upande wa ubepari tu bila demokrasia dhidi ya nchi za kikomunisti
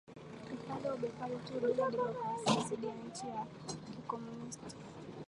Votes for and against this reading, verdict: 0, 3, rejected